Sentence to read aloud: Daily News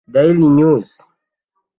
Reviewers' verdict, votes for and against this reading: rejected, 0, 2